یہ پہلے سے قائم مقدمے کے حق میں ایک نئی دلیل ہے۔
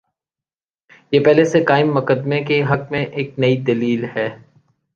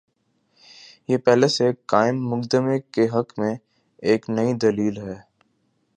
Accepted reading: first